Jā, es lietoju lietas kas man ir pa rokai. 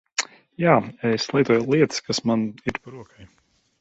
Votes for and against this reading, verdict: 0, 2, rejected